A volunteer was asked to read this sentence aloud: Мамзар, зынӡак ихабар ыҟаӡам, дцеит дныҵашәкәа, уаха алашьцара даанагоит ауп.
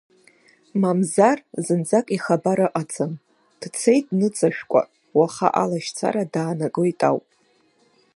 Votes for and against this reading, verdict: 2, 0, accepted